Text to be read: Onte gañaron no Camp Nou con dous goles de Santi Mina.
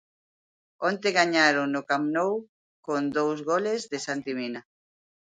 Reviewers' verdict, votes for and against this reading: accepted, 2, 0